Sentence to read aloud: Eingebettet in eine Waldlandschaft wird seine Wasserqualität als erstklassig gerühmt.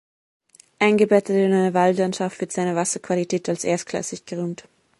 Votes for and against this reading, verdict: 0, 2, rejected